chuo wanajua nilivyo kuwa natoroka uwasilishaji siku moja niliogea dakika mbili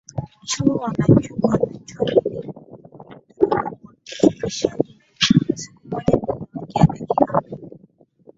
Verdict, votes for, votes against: rejected, 0, 2